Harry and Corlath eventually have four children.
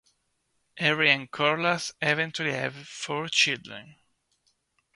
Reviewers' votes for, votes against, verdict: 1, 2, rejected